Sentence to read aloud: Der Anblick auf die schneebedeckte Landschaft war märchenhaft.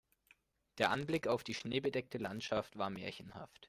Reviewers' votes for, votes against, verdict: 2, 0, accepted